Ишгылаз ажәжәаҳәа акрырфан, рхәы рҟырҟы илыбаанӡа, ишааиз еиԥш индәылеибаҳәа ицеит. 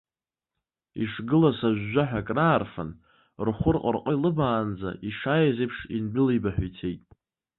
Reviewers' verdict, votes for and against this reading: rejected, 1, 2